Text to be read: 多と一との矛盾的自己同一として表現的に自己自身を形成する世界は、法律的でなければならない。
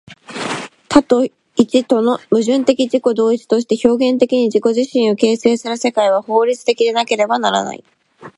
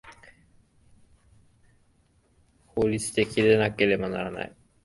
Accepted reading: first